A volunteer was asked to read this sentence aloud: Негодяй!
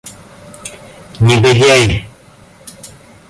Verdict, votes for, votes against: rejected, 0, 2